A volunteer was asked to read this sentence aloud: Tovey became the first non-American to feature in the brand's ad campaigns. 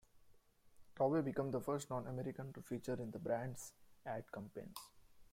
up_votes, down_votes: 0, 2